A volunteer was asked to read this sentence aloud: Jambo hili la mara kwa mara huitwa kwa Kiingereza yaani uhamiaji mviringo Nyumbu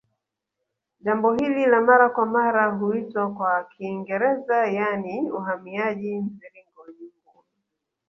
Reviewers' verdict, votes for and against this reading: accepted, 2, 1